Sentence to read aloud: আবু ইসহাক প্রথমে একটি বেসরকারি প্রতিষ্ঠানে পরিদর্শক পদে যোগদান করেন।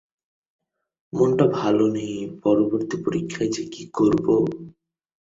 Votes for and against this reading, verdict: 0, 4, rejected